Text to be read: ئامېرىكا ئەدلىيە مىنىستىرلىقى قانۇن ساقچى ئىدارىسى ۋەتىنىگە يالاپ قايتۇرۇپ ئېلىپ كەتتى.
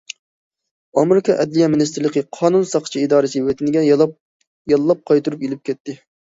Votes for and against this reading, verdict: 0, 2, rejected